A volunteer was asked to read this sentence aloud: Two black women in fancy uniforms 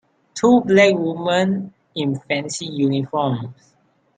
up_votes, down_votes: 3, 4